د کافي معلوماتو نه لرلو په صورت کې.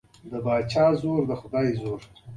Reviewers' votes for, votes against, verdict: 2, 1, accepted